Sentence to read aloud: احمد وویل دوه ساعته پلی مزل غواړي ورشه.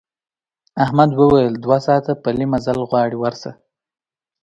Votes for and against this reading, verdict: 2, 0, accepted